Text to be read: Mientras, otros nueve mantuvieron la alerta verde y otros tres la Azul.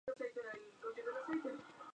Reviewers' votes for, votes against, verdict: 0, 2, rejected